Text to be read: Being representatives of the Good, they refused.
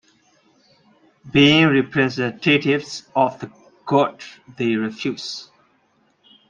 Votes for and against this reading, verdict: 0, 2, rejected